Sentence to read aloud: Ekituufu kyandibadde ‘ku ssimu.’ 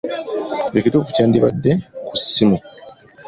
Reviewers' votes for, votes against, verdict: 2, 1, accepted